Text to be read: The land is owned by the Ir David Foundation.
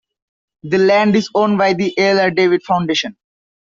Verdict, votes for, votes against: accepted, 2, 0